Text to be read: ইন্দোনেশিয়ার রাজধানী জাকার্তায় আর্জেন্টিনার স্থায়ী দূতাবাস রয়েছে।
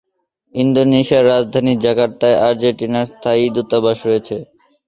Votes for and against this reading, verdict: 2, 0, accepted